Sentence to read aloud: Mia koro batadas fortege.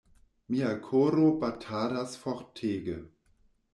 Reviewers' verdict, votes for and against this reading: accepted, 2, 0